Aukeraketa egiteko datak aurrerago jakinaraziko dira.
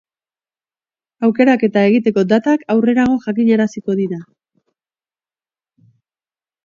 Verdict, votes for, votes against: accepted, 2, 0